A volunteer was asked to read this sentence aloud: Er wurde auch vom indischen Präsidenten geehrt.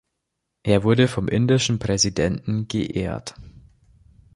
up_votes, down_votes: 0, 2